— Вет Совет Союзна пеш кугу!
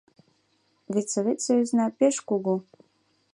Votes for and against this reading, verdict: 2, 0, accepted